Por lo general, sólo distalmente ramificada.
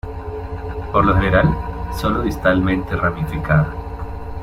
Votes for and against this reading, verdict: 1, 2, rejected